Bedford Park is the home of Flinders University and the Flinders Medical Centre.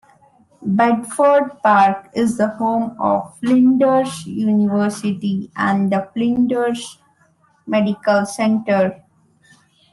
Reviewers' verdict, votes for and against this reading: accepted, 2, 0